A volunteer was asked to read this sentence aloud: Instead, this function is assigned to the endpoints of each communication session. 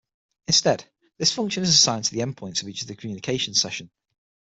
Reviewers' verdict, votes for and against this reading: rejected, 3, 6